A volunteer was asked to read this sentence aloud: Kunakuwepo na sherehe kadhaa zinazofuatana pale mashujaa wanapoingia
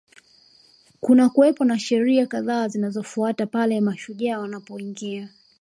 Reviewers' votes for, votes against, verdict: 2, 0, accepted